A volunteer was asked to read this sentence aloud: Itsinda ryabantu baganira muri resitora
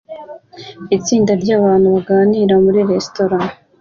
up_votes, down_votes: 2, 0